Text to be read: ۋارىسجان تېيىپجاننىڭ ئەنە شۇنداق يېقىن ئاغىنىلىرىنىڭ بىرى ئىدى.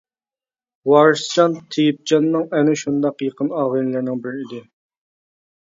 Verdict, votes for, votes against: accepted, 2, 0